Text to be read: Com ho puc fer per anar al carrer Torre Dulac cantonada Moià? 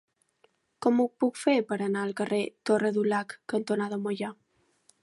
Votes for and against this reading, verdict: 2, 0, accepted